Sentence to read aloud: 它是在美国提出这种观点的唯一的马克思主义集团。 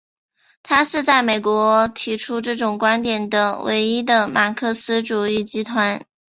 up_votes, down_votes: 2, 0